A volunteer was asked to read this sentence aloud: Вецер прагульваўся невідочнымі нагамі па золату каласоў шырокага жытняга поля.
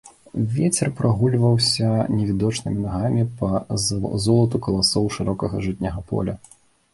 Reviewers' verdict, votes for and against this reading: rejected, 0, 2